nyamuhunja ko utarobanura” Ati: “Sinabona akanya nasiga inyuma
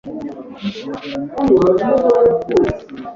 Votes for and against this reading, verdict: 1, 2, rejected